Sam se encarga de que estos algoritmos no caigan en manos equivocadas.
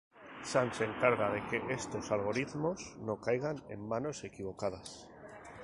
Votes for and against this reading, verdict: 0, 2, rejected